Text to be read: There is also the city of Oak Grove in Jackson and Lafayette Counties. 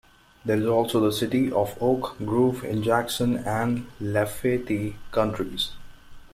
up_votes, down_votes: 0, 2